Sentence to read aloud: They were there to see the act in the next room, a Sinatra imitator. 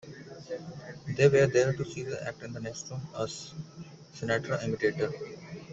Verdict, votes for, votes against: rejected, 1, 2